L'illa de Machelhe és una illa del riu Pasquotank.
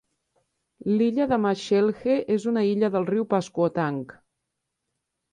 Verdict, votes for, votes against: accepted, 3, 0